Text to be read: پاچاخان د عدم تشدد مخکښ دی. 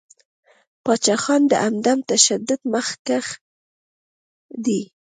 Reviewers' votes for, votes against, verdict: 2, 1, accepted